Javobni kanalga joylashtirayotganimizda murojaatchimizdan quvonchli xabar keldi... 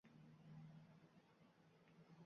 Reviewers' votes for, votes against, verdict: 0, 2, rejected